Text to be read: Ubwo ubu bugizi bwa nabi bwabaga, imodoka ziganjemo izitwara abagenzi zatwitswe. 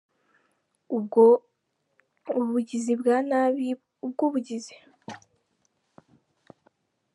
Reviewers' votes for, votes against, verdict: 1, 2, rejected